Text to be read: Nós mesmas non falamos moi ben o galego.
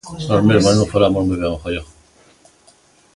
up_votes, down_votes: 0, 2